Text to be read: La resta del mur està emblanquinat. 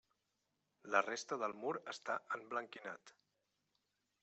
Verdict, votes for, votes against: accepted, 2, 0